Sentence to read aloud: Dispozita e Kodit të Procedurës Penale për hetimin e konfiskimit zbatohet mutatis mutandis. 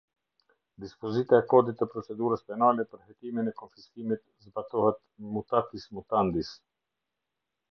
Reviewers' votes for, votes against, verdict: 2, 0, accepted